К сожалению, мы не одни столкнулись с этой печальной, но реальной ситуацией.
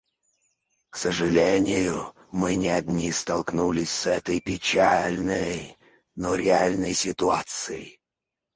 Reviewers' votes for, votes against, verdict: 2, 4, rejected